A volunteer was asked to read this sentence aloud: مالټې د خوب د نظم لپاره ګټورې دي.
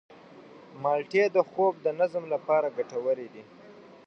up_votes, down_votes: 2, 0